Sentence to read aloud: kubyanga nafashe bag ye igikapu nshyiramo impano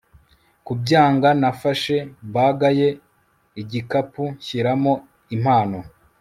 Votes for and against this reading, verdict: 2, 0, accepted